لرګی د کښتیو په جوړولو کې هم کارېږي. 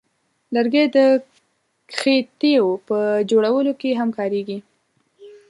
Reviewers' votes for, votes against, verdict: 0, 3, rejected